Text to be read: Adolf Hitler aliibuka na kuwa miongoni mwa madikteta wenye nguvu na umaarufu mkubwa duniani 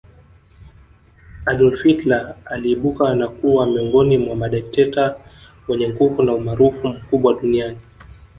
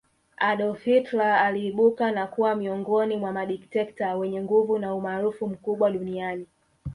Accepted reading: second